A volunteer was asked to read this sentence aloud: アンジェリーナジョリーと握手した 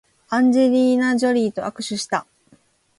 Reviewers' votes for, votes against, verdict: 2, 0, accepted